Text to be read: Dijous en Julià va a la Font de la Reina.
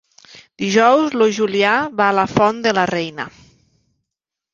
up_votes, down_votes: 0, 2